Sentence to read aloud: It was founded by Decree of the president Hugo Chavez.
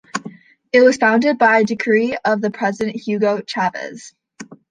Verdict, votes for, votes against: accepted, 2, 0